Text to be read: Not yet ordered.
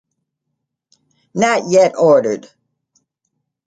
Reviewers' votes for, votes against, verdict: 2, 0, accepted